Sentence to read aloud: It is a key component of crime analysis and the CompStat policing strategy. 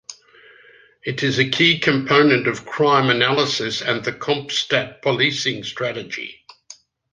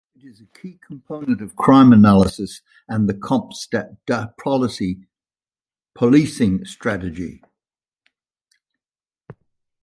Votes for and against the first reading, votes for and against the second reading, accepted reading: 2, 0, 0, 2, first